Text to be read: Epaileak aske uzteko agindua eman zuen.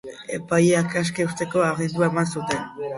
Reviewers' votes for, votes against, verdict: 0, 2, rejected